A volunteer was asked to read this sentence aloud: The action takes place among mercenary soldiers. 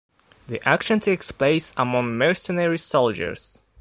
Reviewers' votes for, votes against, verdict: 2, 0, accepted